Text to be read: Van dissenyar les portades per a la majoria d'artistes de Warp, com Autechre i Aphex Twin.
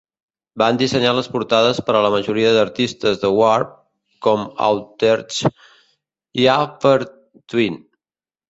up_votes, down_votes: 0, 2